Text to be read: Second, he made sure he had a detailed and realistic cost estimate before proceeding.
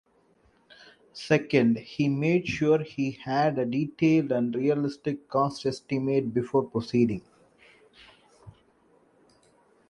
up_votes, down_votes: 2, 0